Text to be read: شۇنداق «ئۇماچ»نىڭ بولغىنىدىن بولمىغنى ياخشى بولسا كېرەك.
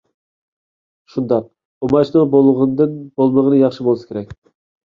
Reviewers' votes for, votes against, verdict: 2, 1, accepted